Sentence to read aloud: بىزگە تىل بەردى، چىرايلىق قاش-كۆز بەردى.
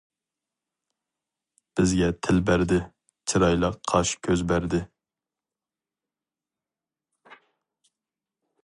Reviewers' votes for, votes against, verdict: 2, 0, accepted